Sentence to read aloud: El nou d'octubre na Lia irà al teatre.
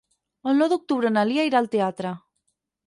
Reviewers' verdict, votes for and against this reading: accepted, 4, 0